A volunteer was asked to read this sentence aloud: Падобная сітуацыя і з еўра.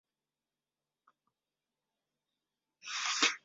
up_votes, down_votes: 0, 2